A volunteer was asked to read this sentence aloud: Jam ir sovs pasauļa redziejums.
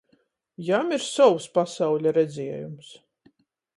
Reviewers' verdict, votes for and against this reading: accepted, 14, 0